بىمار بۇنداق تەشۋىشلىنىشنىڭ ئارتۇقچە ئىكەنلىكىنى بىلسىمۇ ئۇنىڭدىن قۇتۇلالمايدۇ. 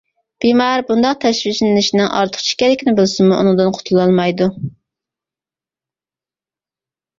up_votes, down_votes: 2, 0